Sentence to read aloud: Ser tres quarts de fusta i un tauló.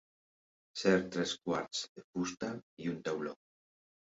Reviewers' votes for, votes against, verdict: 2, 0, accepted